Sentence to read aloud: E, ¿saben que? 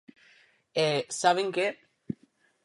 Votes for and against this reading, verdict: 4, 0, accepted